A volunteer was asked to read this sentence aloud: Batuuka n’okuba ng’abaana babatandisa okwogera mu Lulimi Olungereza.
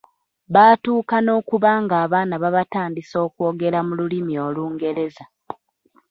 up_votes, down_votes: 2, 1